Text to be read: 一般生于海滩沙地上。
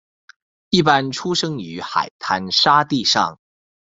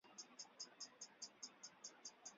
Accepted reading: first